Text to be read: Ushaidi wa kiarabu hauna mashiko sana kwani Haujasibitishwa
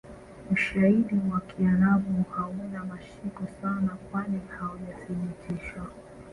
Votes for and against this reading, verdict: 0, 3, rejected